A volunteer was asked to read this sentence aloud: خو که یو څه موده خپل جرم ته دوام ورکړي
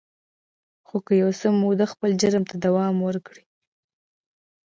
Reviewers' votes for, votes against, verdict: 2, 0, accepted